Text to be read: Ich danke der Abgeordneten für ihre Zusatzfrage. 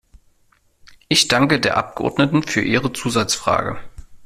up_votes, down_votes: 2, 0